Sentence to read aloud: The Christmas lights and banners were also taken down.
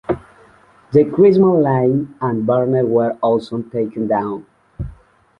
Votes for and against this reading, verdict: 0, 2, rejected